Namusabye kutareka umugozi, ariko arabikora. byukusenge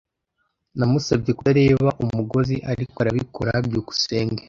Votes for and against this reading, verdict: 1, 2, rejected